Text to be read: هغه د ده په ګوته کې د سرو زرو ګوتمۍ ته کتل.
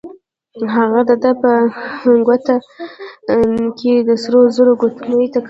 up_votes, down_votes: 1, 2